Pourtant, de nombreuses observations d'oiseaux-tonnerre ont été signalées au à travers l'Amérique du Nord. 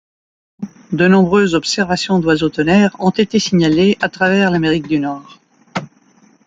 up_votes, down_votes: 1, 2